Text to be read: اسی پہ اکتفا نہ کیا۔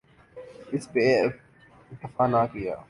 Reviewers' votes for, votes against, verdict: 1, 2, rejected